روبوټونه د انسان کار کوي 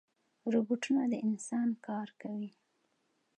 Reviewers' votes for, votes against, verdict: 2, 0, accepted